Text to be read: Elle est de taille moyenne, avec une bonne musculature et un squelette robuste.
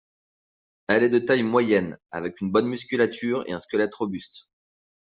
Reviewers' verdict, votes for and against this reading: accepted, 2, 0